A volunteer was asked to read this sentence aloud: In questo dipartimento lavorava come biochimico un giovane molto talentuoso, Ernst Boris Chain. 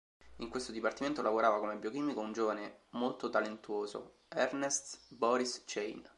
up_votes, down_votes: 2, 1